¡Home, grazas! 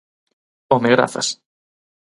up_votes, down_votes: 4, 0